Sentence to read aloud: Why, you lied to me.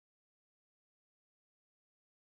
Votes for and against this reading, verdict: 0, 2, rejected